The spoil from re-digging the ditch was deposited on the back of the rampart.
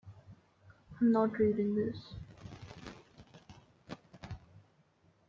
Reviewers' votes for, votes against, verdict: 0, 2, rejected